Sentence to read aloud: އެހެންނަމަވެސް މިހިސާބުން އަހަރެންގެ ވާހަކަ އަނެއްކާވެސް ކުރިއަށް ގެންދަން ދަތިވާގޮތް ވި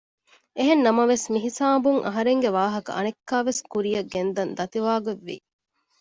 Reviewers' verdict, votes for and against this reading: accepted, 2, 0